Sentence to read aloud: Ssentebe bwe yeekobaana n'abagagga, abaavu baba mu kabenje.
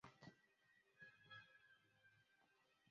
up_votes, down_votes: 0, 2